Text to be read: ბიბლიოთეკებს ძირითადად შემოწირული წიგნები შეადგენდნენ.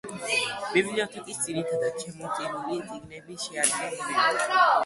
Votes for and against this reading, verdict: 1, 2, rejected